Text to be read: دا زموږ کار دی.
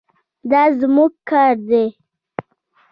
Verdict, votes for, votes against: rejected, 1, 2